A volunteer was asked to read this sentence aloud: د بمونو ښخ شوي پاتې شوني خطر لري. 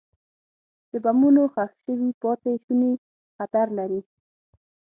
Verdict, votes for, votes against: accepted, 6, 0